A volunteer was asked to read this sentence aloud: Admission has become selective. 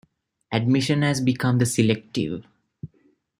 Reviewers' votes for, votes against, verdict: 1, 2, rejected